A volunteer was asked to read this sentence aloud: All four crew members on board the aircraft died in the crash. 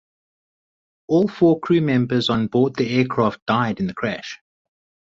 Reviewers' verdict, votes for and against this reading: rejected, 2, 2